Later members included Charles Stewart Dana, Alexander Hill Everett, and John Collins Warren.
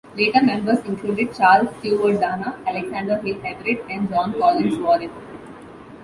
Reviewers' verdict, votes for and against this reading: accepted, 2, 0